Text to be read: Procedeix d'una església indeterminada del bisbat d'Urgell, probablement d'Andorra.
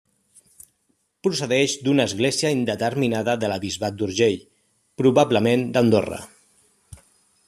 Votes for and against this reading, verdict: 1, 3, rejected